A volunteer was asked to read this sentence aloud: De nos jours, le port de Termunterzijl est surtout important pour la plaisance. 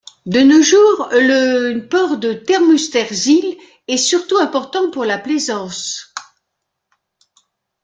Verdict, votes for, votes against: accepted, 2, 0